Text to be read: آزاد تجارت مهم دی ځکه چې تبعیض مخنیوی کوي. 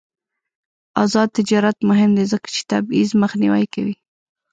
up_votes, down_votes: 1, 2